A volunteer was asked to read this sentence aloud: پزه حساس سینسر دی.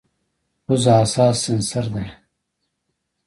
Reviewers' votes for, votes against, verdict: 2, 0, accepted